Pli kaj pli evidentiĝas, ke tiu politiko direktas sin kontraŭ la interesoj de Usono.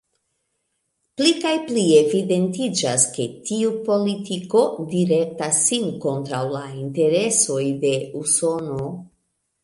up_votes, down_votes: 2, 0